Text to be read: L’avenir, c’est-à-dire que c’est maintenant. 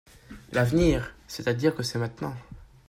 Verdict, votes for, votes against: accepted, 2, 0